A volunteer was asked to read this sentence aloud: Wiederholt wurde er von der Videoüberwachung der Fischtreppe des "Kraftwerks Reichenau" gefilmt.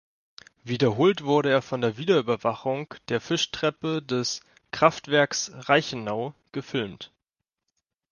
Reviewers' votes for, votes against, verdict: 2, 0, accepted